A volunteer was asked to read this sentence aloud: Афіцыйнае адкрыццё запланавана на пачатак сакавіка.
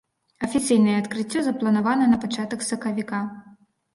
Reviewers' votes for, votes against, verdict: 2, 0, accepted